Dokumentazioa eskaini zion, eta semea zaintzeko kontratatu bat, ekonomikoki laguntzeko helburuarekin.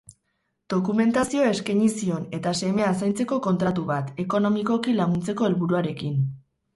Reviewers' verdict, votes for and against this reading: rejected, 0, 4